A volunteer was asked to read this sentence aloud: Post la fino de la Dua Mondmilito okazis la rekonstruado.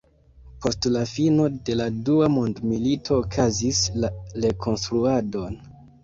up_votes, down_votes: 1, 2